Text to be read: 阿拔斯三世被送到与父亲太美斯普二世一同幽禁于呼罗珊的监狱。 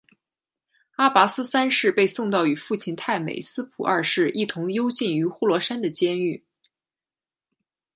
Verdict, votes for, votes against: accepted, 2, 1